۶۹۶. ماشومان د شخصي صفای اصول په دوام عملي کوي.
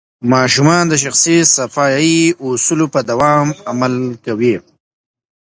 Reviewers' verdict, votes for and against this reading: rejected, 0, 2